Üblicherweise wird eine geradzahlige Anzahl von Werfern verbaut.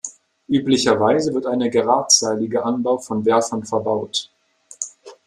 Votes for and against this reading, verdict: 0, 2, rejected